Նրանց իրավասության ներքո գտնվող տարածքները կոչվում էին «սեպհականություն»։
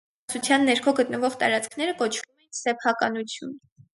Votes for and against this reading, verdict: 0, 4, rejected